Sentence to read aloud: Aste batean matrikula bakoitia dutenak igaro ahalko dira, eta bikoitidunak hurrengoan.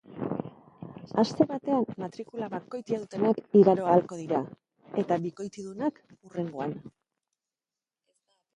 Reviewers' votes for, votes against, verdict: 1, 2, rejected